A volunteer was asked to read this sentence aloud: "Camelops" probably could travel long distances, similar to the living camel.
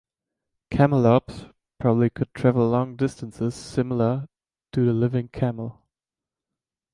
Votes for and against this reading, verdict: 2, 0, accepted